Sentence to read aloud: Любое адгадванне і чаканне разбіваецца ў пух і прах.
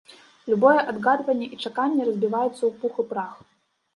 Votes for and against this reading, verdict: 1, 2, rejected